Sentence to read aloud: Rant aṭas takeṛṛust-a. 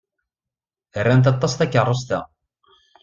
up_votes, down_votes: 2, 0